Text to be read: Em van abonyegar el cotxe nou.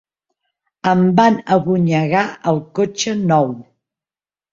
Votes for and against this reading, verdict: 2, 0, accepted